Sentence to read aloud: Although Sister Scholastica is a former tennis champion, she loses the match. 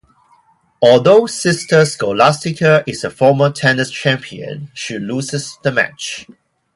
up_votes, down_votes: 2, 0